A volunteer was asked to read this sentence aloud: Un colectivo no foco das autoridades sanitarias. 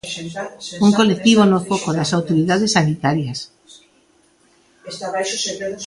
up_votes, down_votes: 1, 2